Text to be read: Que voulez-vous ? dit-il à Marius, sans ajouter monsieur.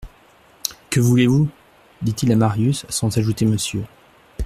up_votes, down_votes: 2, 0